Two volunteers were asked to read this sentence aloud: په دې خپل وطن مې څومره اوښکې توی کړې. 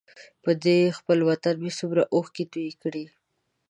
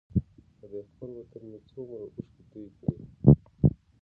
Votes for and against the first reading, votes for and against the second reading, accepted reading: 2, 0, 1, 2, first